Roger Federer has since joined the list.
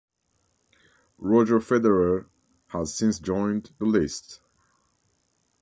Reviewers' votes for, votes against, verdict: 2, 0, accepted